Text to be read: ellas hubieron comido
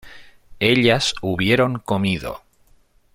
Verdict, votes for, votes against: accepted, 2, 0